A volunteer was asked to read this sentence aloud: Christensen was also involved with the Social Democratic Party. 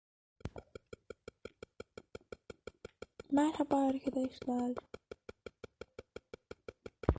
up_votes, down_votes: 0, 2